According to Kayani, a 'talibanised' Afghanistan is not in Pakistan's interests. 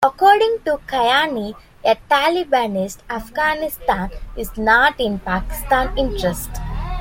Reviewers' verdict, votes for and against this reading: rejected, 0, 2